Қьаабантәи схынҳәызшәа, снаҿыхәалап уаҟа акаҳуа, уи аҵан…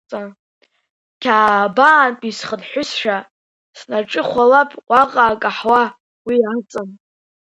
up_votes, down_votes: 2, 1